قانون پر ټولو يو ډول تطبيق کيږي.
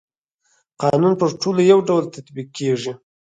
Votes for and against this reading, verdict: 4, 0, accepted